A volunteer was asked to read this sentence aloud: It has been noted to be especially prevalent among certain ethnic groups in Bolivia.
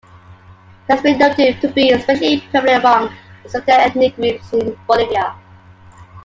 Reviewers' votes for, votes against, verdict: 1, 2, rejected